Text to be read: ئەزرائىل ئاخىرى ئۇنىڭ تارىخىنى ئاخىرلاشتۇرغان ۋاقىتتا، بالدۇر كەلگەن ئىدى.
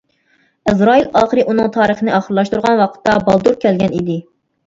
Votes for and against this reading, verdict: 1, 2, rejected